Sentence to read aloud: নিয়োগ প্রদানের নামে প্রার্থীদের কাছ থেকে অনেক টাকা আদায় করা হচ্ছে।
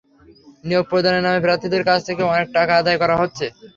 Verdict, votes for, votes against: accepted, 3, 0